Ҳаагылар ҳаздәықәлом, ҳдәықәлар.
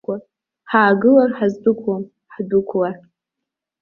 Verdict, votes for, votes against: rejected, 0, 2